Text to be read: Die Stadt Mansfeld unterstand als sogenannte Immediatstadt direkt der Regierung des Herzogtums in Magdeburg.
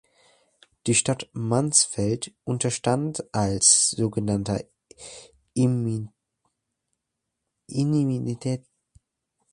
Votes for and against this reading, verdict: 0, 2, rejected